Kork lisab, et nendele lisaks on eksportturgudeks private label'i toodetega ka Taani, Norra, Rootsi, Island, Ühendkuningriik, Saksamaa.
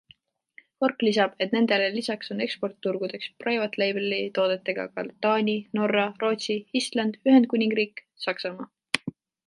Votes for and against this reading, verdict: 2, 0, accepted